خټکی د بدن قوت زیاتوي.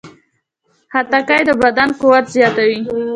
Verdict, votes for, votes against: accepted, 2, 0